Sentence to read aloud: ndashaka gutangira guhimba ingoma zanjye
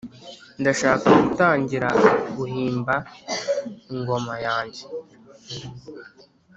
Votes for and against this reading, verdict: 1, 3, rejected